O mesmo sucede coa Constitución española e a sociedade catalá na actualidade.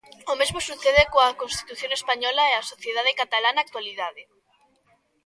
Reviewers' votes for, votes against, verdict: 2, 0, accepted